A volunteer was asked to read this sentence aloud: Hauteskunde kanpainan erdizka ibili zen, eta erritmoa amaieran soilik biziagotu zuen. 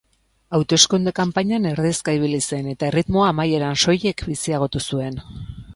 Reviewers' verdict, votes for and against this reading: accepted, 4, 0